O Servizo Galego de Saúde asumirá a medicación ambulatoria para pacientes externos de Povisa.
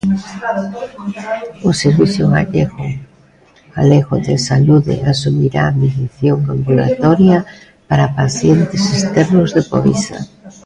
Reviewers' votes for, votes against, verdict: 0, 2, rejected